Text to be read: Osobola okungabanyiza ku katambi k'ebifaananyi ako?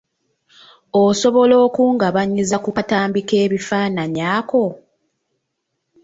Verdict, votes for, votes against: rejected, 1, 2